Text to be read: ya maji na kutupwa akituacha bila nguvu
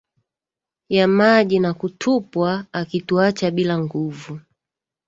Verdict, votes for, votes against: accepted, 2, 0